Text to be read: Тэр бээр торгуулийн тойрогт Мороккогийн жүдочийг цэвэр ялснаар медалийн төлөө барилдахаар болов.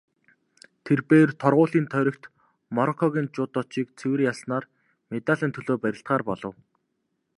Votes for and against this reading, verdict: 2, 0, accepted